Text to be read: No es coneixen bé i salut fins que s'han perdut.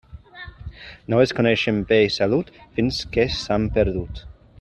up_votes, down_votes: 3, 1